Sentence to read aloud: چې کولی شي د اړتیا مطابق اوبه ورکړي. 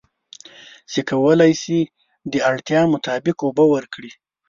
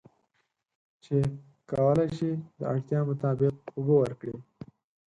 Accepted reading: second